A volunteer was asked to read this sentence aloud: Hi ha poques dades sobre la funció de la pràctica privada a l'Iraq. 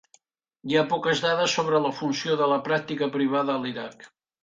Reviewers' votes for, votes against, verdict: 3, 0, accepted